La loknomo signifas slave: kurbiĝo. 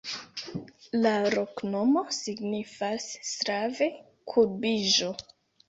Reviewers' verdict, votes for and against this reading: rejected, 1, 2